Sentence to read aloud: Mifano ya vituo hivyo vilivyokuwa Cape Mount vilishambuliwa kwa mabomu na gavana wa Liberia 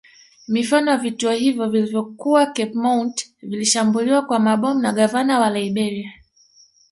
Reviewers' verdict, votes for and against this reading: accepted, 2, 0